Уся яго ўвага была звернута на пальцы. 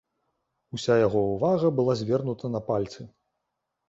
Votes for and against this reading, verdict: 2, 0, accepted